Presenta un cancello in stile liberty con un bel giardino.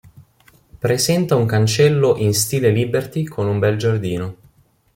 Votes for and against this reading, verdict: 2, 0, accepted